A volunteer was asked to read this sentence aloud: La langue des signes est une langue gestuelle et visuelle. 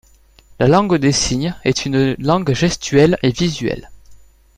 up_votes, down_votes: 2, 1